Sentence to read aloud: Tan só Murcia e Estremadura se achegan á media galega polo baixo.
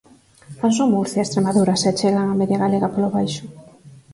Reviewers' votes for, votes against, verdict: 0, 4, rejected